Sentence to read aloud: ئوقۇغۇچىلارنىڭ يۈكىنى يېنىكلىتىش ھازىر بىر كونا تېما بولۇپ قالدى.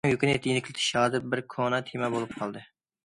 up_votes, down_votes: 0, 2